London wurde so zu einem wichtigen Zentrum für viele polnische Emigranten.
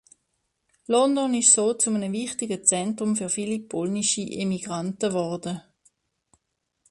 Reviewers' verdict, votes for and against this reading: rejected, 0, 2